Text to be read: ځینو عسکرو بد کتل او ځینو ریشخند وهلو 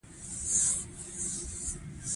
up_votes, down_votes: 2, 1